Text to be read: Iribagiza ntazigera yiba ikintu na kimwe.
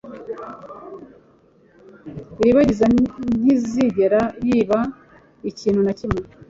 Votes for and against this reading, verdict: 0, 2, rejected